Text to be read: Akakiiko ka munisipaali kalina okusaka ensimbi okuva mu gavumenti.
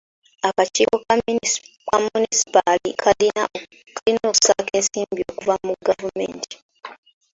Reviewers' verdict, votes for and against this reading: rejected, 1, 2